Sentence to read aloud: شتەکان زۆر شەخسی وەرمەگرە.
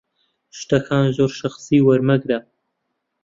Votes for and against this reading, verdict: 2, 0, accepted